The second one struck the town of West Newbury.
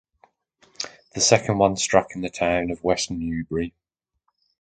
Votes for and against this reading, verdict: 0, 2, rejected